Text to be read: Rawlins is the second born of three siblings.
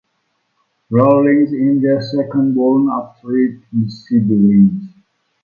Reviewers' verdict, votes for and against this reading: rejected, 0, 2